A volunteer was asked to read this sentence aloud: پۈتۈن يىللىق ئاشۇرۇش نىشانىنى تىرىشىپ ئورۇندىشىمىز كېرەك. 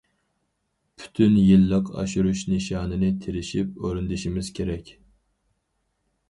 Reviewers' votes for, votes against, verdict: 4, 0, accepted